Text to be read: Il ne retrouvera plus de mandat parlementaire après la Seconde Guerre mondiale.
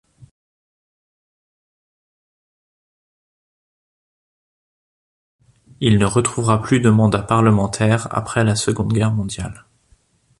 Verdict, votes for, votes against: rejected, 0, 2